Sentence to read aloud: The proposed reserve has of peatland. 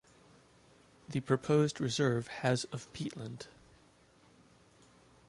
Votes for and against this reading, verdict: 2, 0, accepted